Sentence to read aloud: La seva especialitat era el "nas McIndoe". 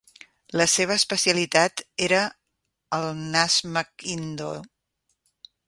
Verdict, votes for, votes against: accepted, 2, 1